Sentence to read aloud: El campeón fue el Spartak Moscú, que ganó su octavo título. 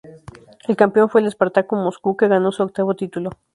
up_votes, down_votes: 0, 2